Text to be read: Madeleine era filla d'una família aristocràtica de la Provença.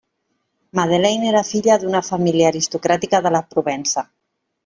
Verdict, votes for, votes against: accepted, 3, 0